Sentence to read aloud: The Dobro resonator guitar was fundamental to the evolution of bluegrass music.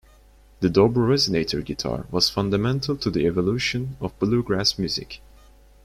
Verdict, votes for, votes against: accepted, 2, 0